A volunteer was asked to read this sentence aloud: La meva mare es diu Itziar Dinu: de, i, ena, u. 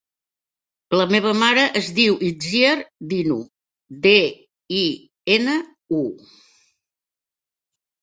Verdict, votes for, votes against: accepted, 2, 0